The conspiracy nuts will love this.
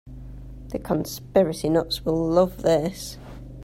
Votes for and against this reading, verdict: 2, 0, accepted